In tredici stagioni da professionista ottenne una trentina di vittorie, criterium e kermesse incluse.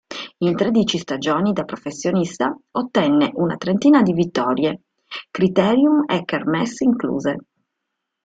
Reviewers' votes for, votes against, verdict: 3, 0, accepted